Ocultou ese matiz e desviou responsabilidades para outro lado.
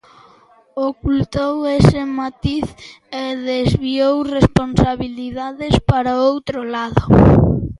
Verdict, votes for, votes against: accepted, 2, 0